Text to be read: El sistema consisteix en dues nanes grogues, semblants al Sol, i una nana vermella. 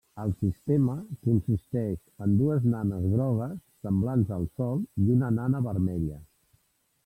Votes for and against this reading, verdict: 2, 1, accepted